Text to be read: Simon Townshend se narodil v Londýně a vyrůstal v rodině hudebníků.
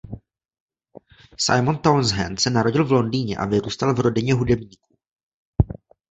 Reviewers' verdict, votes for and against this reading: rejected, 1, 2